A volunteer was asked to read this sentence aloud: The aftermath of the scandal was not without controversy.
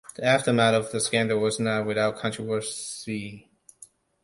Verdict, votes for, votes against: rejected, 0, 2